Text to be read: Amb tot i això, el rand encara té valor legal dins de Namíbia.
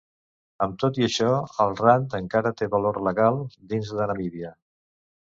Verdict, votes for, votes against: rejected, 0, 2